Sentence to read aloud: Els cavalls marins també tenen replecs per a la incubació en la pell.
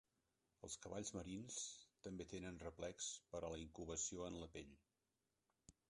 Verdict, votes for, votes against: rejected, 1, 2